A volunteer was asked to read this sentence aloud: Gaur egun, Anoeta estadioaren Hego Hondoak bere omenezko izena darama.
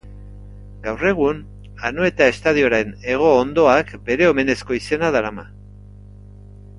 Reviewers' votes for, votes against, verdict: 1, 2, rejected